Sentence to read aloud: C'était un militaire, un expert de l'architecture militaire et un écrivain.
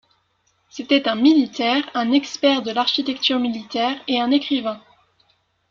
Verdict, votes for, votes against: accepted, 2, 0